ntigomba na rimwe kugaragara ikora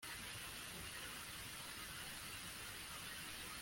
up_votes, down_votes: 0, 2